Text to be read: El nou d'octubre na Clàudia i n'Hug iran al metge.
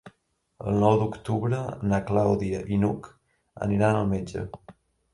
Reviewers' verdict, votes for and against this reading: rejected, 1, 2